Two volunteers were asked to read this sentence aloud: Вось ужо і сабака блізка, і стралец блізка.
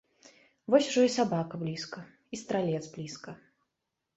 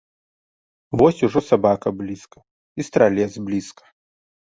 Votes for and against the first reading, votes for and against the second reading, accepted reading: 2, 0, 0, 2, first